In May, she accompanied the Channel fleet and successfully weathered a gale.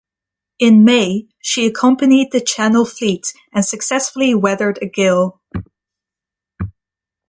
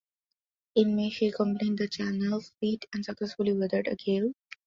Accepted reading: first